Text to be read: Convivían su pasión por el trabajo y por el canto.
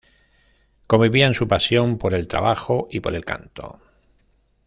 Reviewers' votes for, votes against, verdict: 1, 2, rejected